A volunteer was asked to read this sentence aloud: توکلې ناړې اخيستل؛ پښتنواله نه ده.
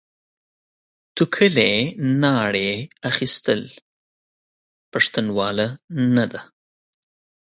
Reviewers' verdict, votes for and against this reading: accepted, 2, 0